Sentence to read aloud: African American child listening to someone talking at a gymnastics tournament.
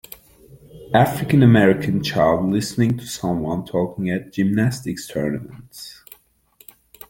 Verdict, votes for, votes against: rejected, 1, 2